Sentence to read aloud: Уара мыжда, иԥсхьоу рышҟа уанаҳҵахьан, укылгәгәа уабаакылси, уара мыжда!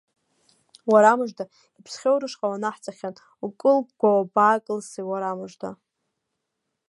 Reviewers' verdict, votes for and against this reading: accepted, 2, 0